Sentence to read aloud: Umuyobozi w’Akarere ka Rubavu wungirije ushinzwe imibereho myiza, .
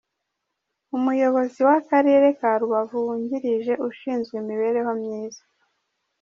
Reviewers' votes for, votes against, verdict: 2, 1, accepted